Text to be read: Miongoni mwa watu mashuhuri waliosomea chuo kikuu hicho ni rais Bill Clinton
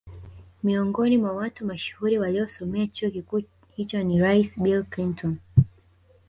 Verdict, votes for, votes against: rejected, 0, 2